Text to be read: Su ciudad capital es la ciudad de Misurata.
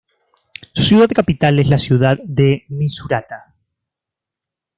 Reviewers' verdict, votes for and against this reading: rejected, 0, 2